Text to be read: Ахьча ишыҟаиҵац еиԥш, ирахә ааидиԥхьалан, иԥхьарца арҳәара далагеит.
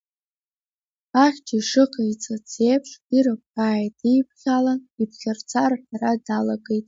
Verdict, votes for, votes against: rejected, 1, 2